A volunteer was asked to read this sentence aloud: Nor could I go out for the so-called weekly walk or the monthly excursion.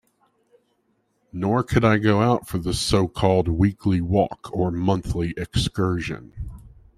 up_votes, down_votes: 0, 2